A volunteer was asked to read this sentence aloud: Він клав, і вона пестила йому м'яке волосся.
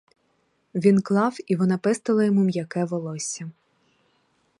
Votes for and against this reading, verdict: 4, 0, accepted